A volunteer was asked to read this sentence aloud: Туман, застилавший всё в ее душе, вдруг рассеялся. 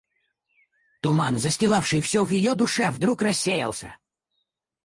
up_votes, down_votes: 2, 2